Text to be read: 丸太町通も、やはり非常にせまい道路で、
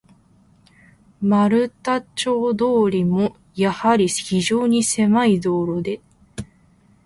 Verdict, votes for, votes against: accepted, 2, 0